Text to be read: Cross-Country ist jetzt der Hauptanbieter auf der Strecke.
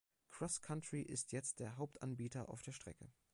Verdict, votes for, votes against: accepted, 2, 0